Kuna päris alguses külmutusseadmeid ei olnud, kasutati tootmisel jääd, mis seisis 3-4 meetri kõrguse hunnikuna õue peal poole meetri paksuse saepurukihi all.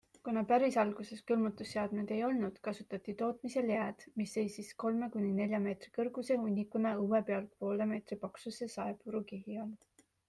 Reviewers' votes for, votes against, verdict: 0, 2, rejected